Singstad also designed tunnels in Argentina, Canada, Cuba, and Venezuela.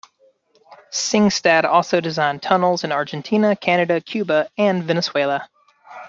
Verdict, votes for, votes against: rejected, 1, 2